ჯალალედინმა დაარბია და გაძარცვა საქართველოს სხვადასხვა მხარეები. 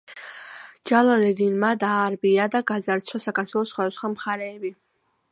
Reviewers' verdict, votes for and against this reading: accepted, 2, 0